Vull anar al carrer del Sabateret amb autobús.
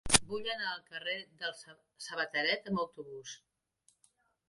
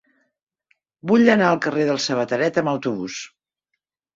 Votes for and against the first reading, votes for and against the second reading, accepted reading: 0, 2, 3, 0, second